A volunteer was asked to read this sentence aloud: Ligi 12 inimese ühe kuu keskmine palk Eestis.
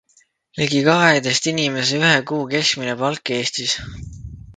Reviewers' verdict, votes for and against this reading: rejected, 0, 2